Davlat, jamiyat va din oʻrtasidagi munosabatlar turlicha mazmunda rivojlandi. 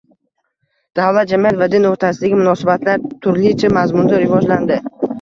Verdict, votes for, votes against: rejected, 0, 2